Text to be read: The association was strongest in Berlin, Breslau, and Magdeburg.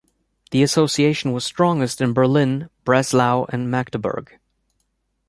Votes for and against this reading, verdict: 2, 0, accepted